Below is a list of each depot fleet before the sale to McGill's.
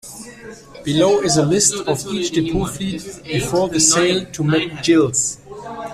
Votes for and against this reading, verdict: 0, 2, rejected